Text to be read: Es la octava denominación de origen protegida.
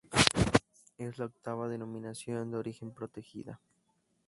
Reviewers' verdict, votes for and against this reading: rejected, 2, 2